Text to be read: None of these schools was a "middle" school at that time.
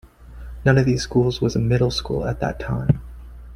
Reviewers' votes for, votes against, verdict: 3, 2, accepted